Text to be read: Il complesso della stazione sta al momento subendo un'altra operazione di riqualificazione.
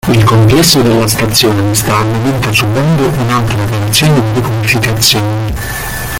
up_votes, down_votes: 0, 2